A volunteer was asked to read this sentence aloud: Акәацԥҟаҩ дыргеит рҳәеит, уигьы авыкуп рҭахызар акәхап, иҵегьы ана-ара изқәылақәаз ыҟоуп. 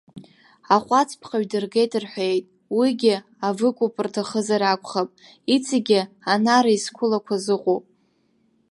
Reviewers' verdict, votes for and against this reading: rejected, 0, 2